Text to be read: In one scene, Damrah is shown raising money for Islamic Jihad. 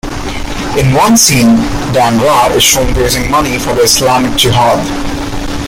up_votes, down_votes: 2, 1